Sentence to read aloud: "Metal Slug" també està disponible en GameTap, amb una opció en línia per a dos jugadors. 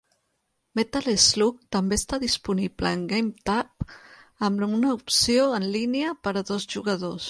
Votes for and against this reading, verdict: 1, 2, rejected